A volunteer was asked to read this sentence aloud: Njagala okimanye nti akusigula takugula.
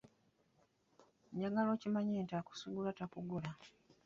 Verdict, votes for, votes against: rejected, 1, 2